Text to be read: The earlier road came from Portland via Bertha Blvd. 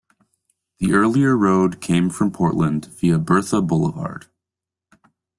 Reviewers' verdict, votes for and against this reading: accepted, 2, 0